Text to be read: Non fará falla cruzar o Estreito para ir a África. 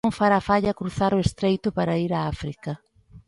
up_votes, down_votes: 2, 0